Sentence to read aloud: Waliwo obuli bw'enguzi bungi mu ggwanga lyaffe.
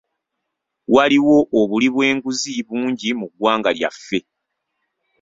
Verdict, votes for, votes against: accepted, 2, 0